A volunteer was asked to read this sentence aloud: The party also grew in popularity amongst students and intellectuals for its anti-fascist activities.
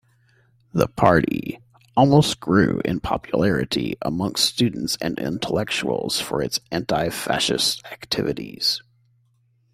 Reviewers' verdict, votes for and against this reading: rejected, 0, 2